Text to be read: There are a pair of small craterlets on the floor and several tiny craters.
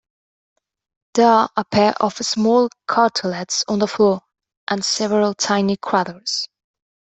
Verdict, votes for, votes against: rejected, 1, 2